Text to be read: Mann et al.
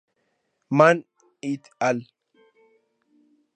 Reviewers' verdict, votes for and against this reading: accepted, 4, 0